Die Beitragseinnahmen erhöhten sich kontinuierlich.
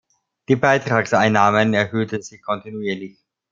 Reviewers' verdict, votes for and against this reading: accepted, 2, 0